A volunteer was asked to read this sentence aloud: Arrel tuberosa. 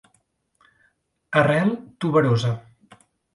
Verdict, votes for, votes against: accepted, 2, 0